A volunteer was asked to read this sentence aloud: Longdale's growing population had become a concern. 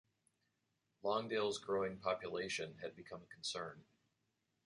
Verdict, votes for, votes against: accepted, 2, 0